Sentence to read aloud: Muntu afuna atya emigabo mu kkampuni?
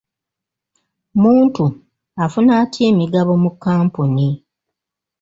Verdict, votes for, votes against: rejected, 1, 2